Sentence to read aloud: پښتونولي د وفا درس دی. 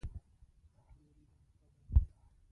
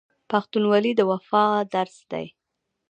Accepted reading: second